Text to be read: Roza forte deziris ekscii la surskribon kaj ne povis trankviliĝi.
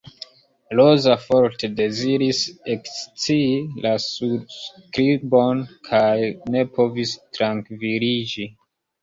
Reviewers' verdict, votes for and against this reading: rejected, 1, 2